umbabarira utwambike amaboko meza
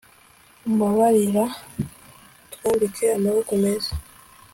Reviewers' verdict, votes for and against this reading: accepted, 2, 1